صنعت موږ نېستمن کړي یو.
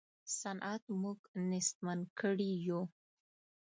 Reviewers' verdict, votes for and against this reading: accepted, 2, 0